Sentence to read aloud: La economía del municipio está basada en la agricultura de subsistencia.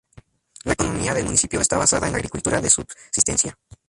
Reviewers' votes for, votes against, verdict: 2, 0, accepted